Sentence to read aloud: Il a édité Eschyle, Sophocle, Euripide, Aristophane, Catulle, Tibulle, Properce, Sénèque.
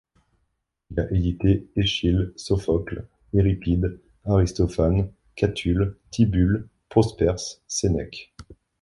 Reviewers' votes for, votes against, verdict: 0, 2, rejected